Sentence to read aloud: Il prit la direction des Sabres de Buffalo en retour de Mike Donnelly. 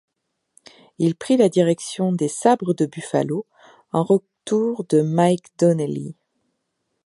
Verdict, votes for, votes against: rejected, 1, 2